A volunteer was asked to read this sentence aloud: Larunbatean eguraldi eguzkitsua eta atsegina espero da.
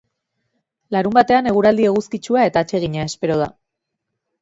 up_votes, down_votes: 3, 0